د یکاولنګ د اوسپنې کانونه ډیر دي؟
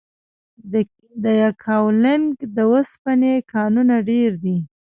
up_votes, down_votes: 1, 2